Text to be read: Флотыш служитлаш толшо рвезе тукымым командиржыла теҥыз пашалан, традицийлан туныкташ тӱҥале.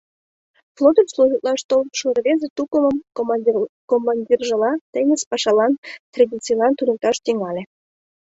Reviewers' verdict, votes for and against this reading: rejected, 1, 2